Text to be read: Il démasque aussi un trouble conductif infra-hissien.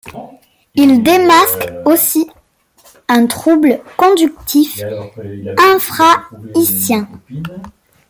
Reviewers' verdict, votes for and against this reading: rejected, 1, 2